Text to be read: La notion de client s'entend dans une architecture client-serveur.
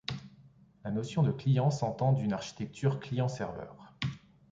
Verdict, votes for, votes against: rejected, 1, 3